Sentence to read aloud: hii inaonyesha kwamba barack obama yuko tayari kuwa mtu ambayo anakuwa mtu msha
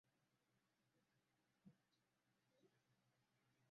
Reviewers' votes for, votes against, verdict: 0, 2, rejected